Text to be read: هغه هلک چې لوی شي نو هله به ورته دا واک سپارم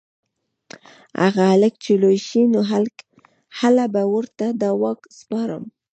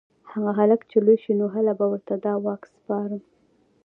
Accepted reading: second